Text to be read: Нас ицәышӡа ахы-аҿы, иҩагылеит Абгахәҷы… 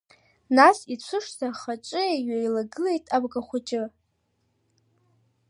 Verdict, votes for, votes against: rejected, 1, 2